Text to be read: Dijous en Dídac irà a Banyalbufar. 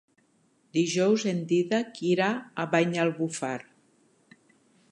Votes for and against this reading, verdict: 4, 0, accepted